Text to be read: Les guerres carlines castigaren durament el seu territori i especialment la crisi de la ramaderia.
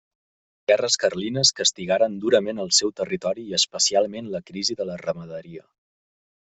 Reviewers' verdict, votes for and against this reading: rejected, 0, 3